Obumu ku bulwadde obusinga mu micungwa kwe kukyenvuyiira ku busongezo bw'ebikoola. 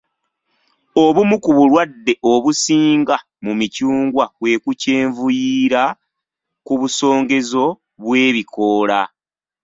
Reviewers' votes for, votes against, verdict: 2, 1, accepted